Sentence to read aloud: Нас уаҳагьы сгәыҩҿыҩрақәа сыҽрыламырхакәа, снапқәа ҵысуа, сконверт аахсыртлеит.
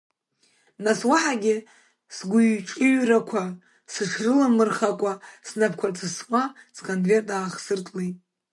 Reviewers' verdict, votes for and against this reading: rejected, 1, 2